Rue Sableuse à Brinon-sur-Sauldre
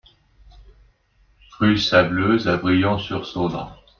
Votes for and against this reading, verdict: 0, 2, rejected